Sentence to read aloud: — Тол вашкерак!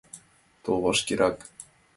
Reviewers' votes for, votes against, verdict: 2, 0, accepted